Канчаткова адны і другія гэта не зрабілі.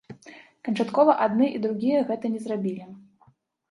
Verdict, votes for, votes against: accepted, 2, 1